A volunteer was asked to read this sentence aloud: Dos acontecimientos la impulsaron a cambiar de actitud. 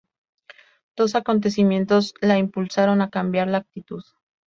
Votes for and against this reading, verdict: 0, 2, rejected